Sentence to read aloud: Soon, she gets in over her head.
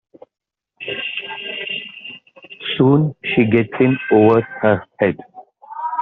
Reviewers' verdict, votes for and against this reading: rejected, 3, 4